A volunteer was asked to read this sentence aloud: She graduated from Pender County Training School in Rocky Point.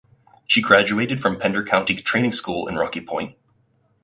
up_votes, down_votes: 4, 0